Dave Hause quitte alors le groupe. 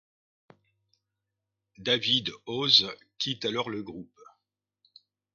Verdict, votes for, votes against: rejected, 0, 2